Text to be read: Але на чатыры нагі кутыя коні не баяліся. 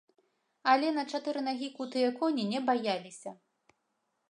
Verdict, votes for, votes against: accepted, 2, 0